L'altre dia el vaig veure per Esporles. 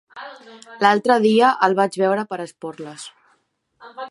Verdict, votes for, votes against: accepted, 3, 0